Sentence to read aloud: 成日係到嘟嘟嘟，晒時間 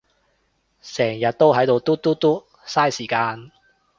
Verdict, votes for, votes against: rejected, 0, 2